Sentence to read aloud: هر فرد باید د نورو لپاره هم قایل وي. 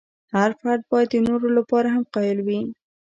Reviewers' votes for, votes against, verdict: 2, 0, accepted